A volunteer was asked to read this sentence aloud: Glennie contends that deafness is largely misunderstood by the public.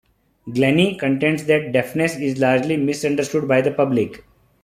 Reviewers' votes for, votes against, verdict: 2, 0, accepted